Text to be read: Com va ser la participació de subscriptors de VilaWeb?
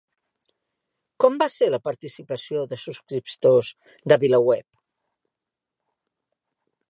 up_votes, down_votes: 1, 2